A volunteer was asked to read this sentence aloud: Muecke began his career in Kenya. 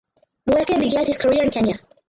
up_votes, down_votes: 2, 2